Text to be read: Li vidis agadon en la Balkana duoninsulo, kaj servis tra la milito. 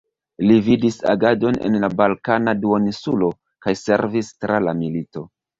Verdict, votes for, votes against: accepted, 2, 1